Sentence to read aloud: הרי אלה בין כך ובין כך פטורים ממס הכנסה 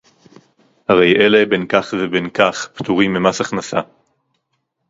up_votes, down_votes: 2, 2